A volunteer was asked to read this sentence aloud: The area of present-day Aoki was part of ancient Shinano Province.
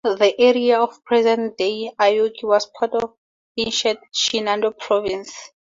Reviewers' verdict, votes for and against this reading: accepted, 2, 0